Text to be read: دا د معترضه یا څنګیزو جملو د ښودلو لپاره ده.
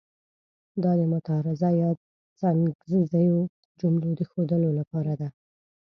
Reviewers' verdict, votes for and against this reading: rejected, 1, 2